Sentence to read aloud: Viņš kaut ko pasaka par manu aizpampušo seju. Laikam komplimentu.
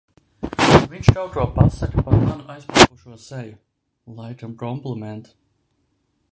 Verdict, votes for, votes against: rejected, 0, 2